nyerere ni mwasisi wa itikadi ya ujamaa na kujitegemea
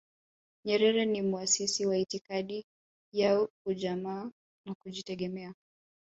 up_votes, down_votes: 2, 0